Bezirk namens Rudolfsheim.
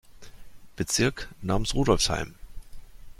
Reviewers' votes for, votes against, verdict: 2, 0, accepted